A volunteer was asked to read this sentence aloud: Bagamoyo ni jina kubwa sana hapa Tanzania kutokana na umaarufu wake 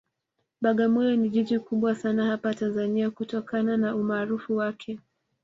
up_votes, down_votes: 1, 2